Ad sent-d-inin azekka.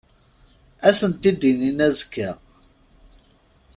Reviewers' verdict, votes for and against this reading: accepted, 2, 0